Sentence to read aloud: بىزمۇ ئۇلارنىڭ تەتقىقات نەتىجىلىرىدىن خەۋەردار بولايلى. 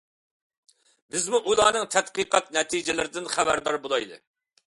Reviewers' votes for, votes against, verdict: 2, 0, accepted